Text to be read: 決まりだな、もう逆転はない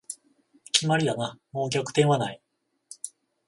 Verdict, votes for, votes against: rejected, 0, 14